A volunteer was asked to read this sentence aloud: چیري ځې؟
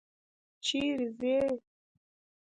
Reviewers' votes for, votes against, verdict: 2, 1, accepted